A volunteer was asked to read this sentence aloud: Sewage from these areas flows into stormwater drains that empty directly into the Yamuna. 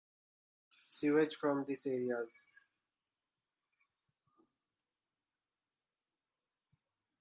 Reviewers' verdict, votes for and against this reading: rejected, 0, 2